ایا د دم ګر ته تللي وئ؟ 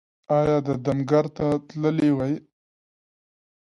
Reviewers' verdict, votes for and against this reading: accepted, 2, 0